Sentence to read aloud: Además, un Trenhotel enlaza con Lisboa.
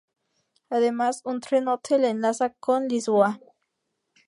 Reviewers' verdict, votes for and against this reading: rejected, 0, 2